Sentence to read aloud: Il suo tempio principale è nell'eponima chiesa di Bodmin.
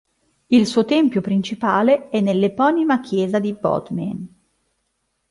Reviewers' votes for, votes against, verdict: 3, 0, accepted